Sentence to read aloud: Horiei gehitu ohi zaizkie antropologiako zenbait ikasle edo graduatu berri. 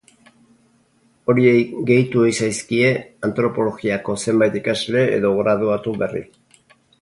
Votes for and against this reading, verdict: 4, 0, accepted